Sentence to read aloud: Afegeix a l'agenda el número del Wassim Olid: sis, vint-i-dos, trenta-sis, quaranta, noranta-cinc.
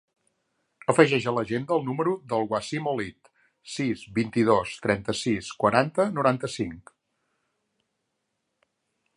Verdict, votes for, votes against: accepted, 2, 0